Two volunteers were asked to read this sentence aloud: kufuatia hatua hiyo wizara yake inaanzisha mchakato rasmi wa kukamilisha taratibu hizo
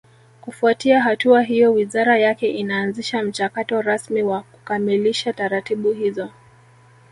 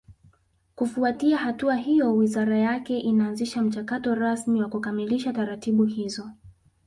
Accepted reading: second